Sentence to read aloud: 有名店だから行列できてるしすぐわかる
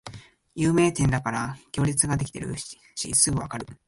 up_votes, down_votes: 1, 2